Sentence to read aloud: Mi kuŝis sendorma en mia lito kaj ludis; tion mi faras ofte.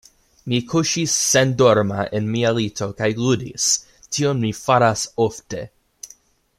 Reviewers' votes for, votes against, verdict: 2, 0, accepted